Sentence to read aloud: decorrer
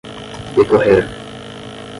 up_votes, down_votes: 5, 0